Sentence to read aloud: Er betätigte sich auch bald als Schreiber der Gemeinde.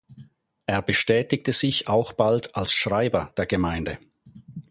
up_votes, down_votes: 0, 4